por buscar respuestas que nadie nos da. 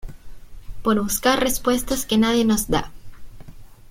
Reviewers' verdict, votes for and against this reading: accepted, 2, 0